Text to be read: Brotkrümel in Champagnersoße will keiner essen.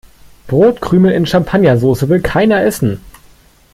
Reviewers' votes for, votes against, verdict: 2, 0, accepted